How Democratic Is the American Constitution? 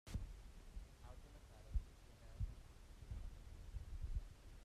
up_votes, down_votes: 0, 2